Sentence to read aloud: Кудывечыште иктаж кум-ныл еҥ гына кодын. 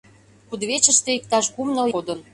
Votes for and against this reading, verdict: 0, 2, rejected